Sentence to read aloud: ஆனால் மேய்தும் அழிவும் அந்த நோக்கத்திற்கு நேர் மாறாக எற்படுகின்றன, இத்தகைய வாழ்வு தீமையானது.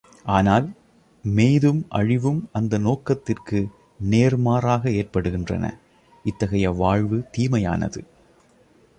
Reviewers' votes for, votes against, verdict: 2, 0, accepted